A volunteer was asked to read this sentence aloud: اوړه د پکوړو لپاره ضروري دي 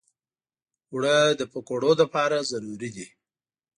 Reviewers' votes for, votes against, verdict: 2, 0, accepted